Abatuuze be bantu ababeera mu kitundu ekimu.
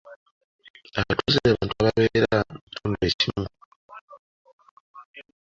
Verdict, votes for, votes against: rejected, 1, 3